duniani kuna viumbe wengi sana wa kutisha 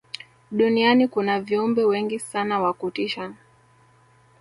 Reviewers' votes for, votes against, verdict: 2, 0, accepted